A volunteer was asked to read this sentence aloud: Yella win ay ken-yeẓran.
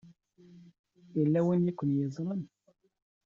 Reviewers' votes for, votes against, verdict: 1, 2, rejected